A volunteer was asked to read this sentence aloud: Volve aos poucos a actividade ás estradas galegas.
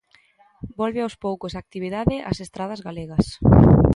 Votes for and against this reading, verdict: 2, 0, accepted